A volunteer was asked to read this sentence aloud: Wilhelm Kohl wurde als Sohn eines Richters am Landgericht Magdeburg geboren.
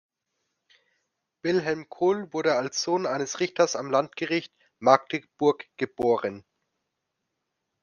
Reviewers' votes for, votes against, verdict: 2, 0, accepted